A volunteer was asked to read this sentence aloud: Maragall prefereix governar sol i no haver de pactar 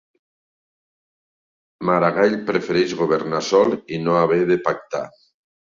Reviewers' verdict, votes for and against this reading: accepted, 2, 1